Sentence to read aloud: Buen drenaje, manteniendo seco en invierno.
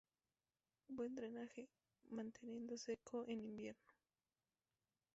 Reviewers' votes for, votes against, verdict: 2, 0, accepted